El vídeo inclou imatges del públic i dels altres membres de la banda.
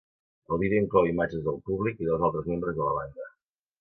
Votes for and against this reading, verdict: 2, 0, accepted